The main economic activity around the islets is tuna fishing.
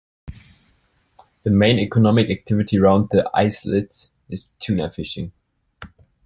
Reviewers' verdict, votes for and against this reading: accepted, 2, 0